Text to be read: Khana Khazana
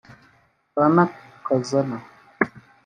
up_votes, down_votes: 0, 2